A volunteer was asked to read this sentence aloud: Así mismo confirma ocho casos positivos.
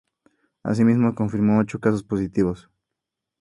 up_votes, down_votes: 2, 0